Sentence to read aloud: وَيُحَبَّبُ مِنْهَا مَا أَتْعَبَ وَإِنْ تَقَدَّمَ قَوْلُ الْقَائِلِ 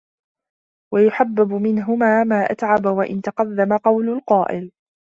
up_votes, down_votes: 1, 2